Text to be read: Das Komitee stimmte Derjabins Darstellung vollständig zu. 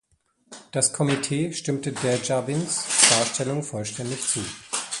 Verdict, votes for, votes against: rejected, 1, 2